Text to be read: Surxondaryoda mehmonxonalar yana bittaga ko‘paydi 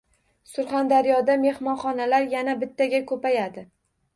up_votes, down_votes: 2, 0